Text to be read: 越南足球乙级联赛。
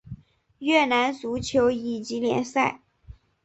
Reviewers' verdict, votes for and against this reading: accepted, 3, 0